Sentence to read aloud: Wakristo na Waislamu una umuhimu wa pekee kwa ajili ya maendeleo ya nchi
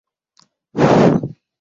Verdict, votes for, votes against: rejected, 0, 2